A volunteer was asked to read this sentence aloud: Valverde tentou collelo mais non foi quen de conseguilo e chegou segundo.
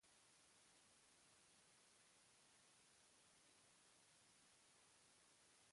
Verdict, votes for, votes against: rejected, 0, 2